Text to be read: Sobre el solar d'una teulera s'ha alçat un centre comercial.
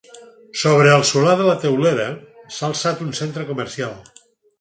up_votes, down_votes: 0, 4